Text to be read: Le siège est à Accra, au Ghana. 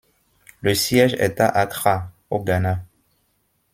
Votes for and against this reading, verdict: 2, 0, accepted